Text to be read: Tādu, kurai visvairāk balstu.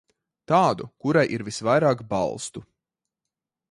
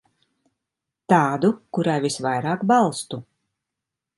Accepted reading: second